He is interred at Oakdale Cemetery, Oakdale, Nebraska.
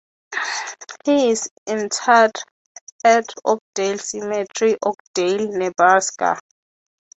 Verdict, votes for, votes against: accepted, 3, 0